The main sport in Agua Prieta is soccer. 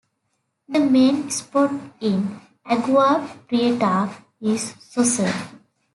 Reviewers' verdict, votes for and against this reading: rejected, 1, 2